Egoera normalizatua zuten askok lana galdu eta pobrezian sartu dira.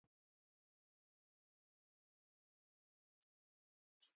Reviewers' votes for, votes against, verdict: 0, 4, rejected